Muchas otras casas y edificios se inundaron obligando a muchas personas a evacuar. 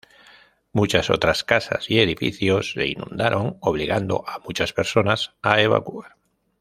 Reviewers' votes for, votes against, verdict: 0, 2, rejected